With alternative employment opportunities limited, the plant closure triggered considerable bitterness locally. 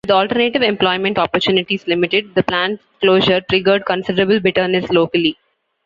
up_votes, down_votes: 2, 0